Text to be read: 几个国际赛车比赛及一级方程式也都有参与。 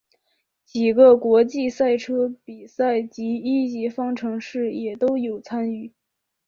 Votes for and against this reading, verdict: 5, 1, accepted